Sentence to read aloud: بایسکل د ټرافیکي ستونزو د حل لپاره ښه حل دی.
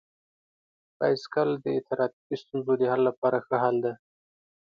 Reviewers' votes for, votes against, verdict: 2, 0, accepted